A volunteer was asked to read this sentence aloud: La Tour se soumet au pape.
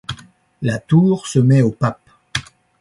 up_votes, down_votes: 0, 2